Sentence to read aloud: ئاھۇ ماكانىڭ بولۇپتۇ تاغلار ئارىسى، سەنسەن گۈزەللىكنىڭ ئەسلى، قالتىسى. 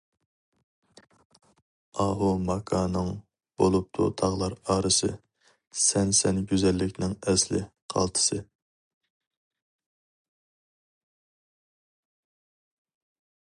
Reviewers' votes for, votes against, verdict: 4, 0, accepted